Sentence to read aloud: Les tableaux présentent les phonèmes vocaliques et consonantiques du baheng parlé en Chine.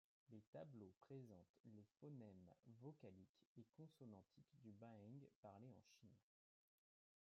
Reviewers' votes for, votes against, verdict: 2, 1, accepted